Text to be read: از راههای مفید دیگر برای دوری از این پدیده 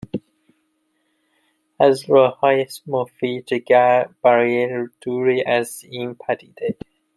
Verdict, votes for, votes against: rejected, 0, 2